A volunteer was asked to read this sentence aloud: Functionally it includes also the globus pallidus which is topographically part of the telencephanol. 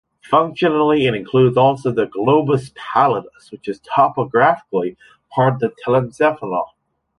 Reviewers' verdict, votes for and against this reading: accepted, 2, 0